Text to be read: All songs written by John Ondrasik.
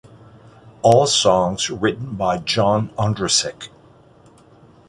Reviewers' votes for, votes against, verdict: 2, 0, accepted